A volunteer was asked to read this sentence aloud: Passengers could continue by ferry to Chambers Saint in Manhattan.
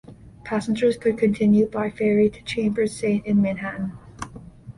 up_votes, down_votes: 2, 0